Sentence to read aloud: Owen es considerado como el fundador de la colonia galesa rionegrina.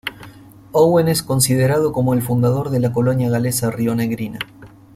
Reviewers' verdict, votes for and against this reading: accepted, 2, 1